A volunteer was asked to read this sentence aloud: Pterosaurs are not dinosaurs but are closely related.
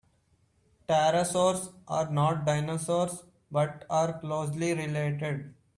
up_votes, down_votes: 3, 0